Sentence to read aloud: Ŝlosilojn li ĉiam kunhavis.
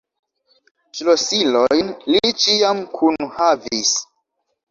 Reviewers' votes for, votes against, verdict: 0, 2, rejected